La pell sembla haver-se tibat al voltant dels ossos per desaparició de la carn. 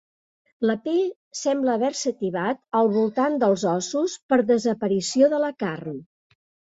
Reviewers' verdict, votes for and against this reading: accepted, 3, 0